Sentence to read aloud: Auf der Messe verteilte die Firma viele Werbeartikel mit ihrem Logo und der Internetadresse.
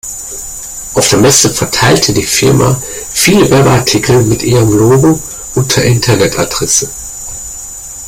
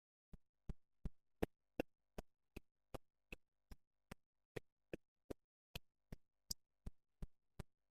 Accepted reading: first